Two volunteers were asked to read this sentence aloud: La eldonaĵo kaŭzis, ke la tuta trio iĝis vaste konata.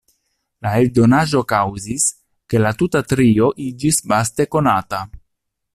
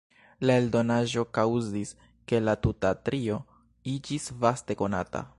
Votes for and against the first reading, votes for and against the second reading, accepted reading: 2, 0, 1, 2, first